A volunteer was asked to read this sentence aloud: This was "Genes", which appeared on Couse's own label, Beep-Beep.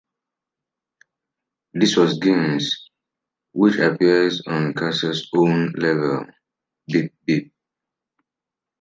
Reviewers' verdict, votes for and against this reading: rejected, 1, 2